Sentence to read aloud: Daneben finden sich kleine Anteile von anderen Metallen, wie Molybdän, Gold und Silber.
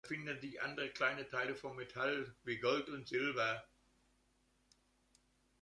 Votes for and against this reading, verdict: 0, 2, rejected